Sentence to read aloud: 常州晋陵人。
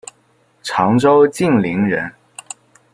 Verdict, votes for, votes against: accepted, 2, 0